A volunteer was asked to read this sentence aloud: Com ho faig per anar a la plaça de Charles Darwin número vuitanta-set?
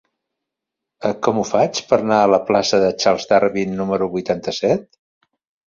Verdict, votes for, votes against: rejected, 1, 2